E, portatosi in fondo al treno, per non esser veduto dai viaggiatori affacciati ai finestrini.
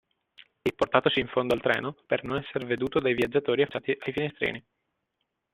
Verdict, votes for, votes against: rejected, 1, 2